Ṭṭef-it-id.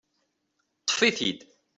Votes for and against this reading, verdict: 2, 0, accepted